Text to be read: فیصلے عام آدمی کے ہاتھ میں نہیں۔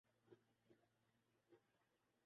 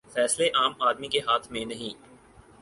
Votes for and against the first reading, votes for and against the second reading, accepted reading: 2, 5, 4, 0, second